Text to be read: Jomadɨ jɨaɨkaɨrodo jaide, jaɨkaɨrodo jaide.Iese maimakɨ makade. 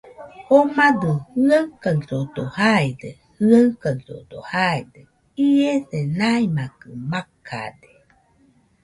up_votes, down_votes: 2, 0